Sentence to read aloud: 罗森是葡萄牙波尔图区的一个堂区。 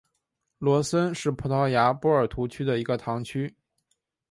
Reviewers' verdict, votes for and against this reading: accepted, 2, 0